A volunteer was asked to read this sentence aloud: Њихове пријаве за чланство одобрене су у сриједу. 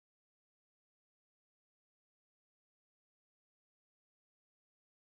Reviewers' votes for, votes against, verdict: 0, 2, rejected